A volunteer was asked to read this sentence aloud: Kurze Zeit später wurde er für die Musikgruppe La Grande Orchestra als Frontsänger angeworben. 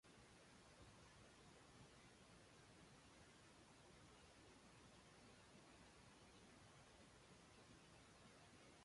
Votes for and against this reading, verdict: 0, 2, rejected